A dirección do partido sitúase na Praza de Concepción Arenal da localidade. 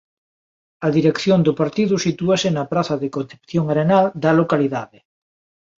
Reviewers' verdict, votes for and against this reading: accepted, 2, 0